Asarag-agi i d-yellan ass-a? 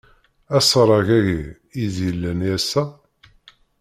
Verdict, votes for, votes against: rejected, 0, 2